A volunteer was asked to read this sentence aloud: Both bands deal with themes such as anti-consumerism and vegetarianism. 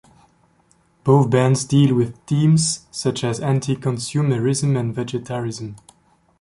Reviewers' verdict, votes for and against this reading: rejected, 0, 2